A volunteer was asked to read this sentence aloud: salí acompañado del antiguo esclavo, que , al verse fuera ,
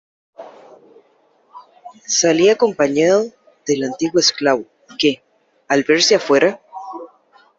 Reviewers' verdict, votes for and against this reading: rejected, 0, 2